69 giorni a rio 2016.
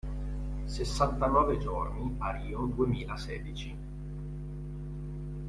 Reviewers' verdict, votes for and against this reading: rejected, 0, 2